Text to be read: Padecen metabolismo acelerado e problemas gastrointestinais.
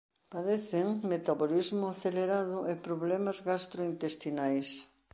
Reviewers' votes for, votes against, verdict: 2, 0, accepted